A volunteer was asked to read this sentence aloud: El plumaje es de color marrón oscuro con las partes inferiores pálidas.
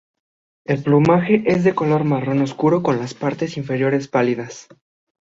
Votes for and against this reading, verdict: 2, 0, accepted